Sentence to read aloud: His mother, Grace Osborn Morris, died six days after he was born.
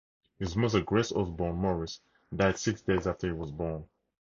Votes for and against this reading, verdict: 2, 0, accepted